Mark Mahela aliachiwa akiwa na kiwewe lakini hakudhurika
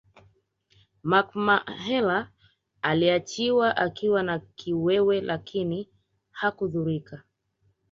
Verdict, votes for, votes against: accepted, 4, 0